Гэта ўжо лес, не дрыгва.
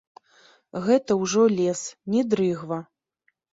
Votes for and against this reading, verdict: 0, 2, rejected